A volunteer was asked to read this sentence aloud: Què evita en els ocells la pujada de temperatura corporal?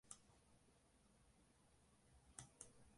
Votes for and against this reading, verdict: 0, 4, rejected